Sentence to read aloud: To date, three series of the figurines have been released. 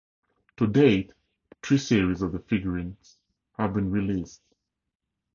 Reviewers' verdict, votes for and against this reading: accepted, 2, 0